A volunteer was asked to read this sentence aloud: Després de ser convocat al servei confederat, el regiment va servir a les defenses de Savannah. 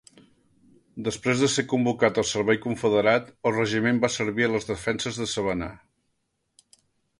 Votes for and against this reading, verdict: 2, 0, accepted